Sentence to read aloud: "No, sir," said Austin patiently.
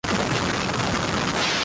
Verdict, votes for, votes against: rejected, 0, 2